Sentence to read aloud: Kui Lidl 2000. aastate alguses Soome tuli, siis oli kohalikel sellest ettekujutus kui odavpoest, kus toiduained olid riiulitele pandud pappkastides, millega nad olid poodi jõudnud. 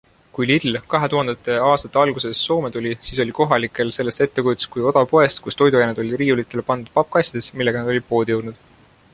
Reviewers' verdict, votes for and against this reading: rejected, 0, 2